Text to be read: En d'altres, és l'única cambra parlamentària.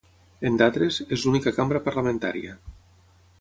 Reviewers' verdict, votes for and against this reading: rejected, 0, 6